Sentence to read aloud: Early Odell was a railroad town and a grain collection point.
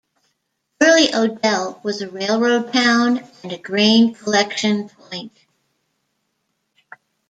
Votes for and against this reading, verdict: 1, 2, rejected